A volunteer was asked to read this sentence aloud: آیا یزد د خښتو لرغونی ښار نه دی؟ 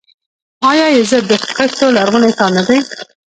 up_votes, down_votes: 2, 1